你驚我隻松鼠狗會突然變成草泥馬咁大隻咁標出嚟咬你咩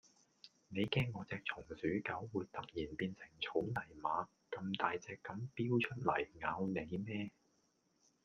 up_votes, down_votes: 2, 0